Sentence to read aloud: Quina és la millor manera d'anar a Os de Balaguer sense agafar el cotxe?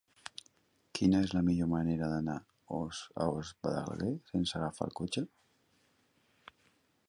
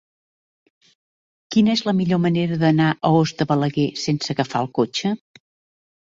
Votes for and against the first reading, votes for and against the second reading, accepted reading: 0, 2, 2, 0, second